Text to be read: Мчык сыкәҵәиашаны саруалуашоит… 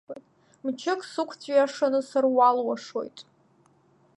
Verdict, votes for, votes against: accepted, 2, 0